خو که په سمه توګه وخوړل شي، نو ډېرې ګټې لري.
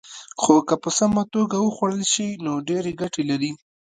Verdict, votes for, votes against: accepted, 2, 0